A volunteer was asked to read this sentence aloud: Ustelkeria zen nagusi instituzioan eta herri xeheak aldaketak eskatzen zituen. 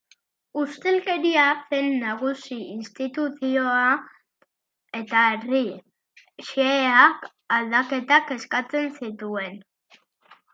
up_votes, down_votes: 3, 3